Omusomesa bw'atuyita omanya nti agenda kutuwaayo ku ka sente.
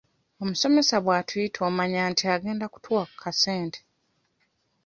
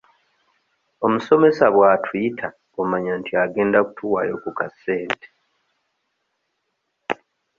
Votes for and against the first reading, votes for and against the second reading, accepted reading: 1, 2, 2, 0, second